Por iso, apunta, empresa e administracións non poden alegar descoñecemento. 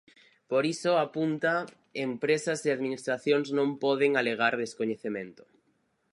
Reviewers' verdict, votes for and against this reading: rejected, 0, 4